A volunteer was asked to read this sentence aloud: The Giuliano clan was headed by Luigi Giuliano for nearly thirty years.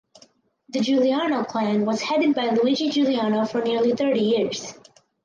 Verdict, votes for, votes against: accepted, 4, 0